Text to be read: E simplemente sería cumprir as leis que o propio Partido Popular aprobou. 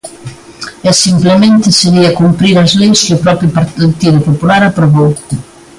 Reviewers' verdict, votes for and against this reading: rejected, 1, 2